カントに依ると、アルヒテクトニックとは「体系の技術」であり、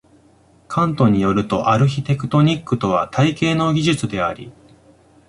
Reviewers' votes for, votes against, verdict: 2, 0, accepted